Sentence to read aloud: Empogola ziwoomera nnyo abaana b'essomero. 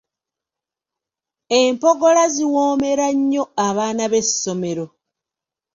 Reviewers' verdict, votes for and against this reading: accepted, 2, 0